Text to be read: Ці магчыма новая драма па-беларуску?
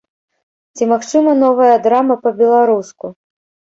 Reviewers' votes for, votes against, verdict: 2, 0, accepted